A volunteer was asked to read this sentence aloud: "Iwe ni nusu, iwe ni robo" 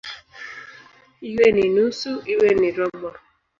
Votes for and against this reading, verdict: 1, 2, rejected